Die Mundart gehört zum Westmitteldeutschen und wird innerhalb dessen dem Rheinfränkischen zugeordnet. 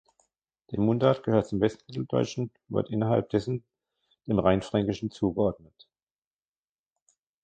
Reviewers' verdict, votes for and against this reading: rejected, 0, 2